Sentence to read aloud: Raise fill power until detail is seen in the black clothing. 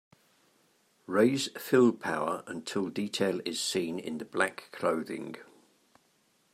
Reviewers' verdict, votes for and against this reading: accepted, 2, 0